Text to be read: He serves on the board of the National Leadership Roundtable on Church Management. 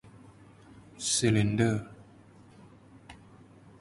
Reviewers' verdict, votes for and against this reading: rejected, 0, 2